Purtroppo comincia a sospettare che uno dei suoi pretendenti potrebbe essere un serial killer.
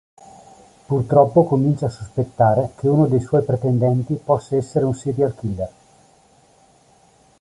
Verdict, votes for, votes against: rejected, 1, 2